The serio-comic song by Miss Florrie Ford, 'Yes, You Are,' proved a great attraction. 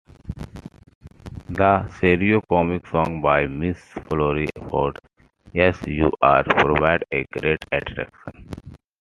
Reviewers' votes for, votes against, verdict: 2, 1, accepted